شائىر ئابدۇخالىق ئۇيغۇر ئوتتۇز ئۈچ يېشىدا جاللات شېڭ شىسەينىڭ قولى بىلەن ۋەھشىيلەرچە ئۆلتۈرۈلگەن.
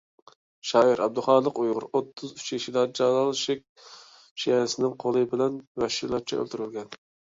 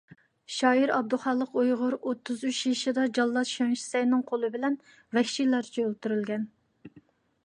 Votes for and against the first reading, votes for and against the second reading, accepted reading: 1, 2, 2, 0, second